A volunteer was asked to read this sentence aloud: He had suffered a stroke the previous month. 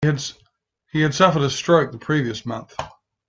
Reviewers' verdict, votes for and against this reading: rejected, 1, 2